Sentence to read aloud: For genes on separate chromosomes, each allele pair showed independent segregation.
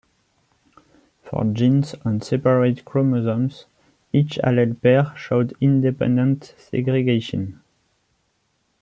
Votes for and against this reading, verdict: 0, 2, rejected